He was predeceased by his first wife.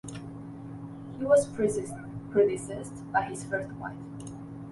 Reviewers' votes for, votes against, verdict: 0, 2, rejected